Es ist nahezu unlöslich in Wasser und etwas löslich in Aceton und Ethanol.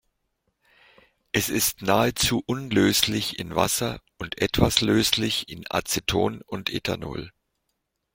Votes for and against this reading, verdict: 2, 0, accepted